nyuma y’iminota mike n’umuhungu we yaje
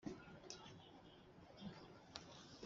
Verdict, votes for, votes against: rejected, 0, 2